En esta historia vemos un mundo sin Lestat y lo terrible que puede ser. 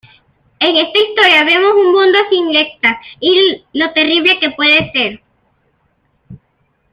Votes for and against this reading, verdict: 2, 1, accepted